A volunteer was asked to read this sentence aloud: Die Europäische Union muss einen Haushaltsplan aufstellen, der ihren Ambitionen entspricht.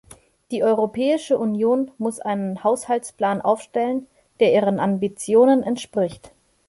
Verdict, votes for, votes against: accepted, 2, 0